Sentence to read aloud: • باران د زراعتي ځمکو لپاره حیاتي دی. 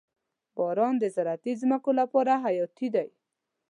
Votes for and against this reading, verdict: 2, 0, accepted